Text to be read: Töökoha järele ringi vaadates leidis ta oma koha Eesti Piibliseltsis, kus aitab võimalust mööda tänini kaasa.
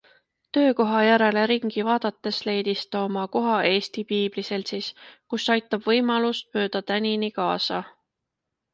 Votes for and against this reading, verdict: 2, 0, accepted